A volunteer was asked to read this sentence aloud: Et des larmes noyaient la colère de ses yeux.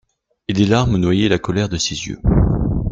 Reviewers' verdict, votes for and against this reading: accepted, 2, 0